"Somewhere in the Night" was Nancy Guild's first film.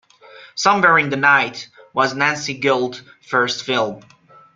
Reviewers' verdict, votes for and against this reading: rejected, 1, 2